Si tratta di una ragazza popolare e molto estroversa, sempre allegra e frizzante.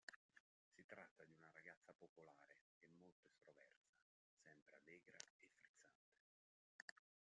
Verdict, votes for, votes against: rejected, 0, 2